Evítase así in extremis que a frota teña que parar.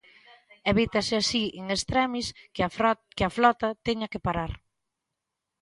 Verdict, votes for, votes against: rejected, 0, 2